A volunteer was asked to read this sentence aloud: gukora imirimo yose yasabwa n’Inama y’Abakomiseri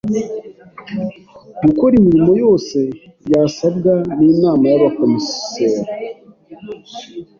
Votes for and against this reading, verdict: 2, 0, accepted